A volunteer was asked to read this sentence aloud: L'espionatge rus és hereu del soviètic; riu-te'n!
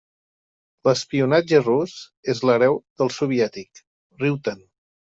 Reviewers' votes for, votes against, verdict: 0, 2, rejected